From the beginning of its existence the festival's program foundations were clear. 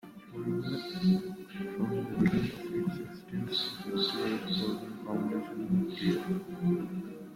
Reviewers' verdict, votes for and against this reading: rejected, 0, 2